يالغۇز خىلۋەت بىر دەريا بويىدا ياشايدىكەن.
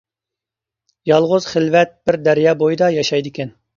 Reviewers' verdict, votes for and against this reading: accepted, 2, 0